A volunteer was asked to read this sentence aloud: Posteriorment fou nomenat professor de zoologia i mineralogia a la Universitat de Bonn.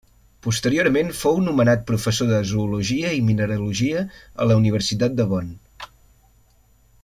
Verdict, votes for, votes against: accepted, 3, 0